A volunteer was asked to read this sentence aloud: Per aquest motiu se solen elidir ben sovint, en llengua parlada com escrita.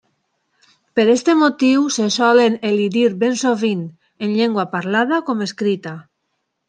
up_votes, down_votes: 1, 2